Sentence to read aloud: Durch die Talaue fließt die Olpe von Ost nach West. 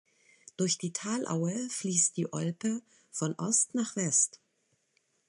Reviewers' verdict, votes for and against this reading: accepted, 3, 0